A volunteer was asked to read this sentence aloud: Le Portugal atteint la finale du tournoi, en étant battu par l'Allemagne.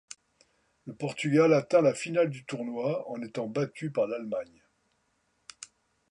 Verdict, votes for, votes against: accepted, 2, 0